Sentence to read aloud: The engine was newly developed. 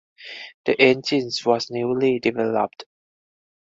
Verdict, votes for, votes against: rejected, 2, 2